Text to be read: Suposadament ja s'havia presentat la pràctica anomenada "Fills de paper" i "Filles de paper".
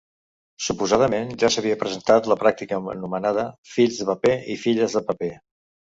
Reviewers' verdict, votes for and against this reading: rejected, 0, 2